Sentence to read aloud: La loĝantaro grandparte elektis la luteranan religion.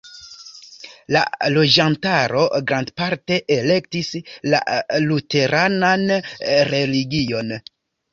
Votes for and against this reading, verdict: 0, 2, rejected